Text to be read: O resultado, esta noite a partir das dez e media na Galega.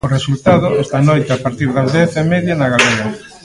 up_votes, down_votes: 0, 2